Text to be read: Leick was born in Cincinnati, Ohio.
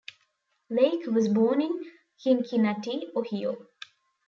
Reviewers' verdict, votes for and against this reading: rejected, 0, 2